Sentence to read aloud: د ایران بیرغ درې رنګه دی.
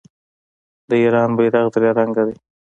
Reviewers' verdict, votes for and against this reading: rejected, 1, 2